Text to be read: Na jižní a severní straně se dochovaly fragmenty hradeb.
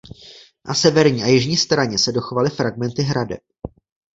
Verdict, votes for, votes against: rejected, 0, 2